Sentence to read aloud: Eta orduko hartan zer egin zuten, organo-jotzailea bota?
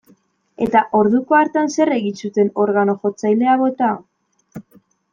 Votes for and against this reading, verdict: 2, 0, accepted